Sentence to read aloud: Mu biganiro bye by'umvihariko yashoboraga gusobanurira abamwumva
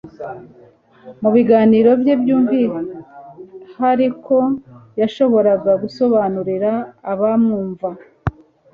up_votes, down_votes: 2, 0